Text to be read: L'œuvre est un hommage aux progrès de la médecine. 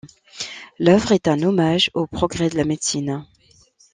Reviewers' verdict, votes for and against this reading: accepted, 2, 0